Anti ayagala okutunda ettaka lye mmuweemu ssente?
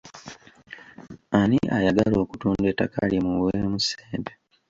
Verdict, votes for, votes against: rejected, 1, 2